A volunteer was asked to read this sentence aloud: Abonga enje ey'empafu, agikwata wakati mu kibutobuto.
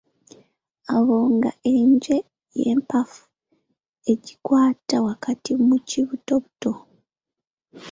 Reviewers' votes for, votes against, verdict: 0, 2, rejected